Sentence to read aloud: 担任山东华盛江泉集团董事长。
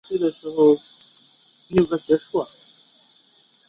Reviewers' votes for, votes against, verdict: 0, 2, rejected